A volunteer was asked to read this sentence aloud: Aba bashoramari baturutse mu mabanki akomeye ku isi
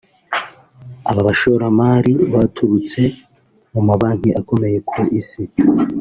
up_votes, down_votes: 2, 0